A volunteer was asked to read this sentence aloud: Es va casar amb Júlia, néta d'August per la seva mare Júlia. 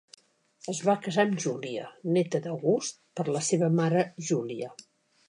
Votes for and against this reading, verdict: 3, 0, accepted